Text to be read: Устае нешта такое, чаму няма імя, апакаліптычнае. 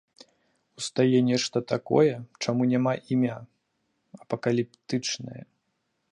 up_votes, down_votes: 2, 0